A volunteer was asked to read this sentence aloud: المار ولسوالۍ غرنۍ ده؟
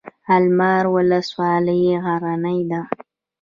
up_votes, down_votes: 1, 2